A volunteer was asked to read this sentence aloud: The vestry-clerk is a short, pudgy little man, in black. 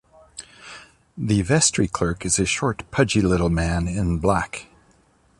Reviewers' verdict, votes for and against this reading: accepted, 2, 0